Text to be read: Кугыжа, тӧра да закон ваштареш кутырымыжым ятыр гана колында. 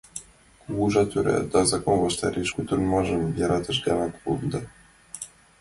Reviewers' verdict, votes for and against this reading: rejected, 0, 2